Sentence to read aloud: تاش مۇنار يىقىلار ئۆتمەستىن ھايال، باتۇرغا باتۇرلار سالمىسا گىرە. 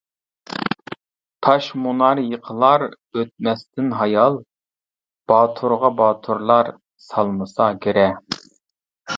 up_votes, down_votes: 2, 0